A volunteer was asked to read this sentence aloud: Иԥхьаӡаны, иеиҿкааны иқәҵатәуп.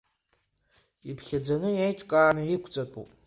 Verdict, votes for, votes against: accepted, 2, 1